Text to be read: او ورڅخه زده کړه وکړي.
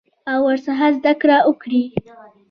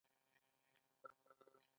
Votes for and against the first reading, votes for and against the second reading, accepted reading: 2, 1, 1, 2, first